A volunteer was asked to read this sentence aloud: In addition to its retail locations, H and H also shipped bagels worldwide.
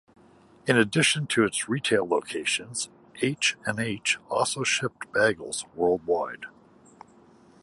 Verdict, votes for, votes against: accepted, 2, 0